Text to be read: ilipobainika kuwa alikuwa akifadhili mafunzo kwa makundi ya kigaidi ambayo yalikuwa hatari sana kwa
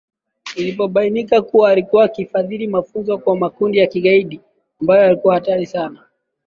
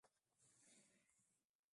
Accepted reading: first